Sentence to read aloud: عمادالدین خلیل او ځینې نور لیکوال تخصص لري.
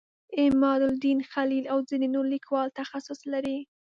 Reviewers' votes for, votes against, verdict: 2, 0, accepted